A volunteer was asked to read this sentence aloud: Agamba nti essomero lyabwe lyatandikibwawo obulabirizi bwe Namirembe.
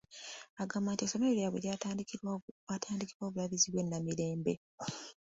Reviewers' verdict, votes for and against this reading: rejected, 0, 2